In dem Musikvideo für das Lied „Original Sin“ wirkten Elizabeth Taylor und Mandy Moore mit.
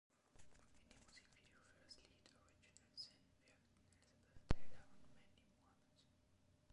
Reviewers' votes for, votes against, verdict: 0, 2, rejected